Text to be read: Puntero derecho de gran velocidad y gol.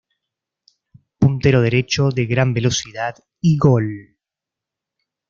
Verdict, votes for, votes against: accepted, 2, 0